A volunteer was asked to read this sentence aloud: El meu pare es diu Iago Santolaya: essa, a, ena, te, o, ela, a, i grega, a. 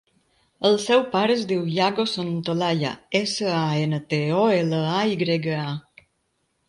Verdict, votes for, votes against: rejected, 1, 2